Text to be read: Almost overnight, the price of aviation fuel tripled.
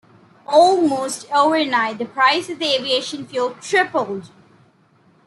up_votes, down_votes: 2, 0